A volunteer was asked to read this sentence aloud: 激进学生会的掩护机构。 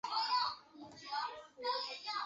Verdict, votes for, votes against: rejected, 0, 4